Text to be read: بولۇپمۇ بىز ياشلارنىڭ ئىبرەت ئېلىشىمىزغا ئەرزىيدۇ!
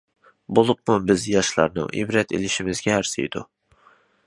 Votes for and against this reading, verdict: 0, 2, rejected